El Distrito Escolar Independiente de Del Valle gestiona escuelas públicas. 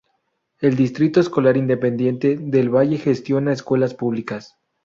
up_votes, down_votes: 2, 0